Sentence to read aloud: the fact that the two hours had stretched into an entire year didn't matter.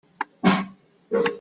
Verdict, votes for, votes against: rejected, 0, 2